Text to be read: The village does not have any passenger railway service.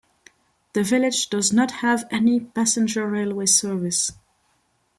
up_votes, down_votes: 2, 0